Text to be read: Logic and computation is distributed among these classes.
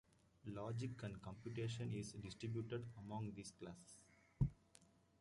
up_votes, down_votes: 2, 0